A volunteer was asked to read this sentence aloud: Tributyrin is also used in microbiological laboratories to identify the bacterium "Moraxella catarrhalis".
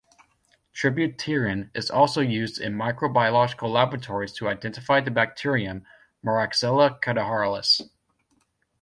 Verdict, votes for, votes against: rejected, 1, 2